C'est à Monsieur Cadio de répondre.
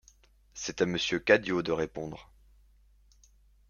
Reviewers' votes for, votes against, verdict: 2, 0, accepted